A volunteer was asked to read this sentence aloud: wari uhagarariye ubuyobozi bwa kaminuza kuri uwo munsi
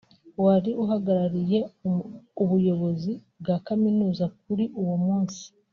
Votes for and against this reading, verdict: 1, 2, rejected